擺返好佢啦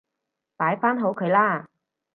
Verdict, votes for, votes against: accepted, 2, 0